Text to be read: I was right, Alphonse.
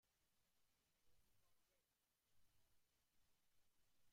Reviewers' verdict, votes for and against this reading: rejected, 0, 2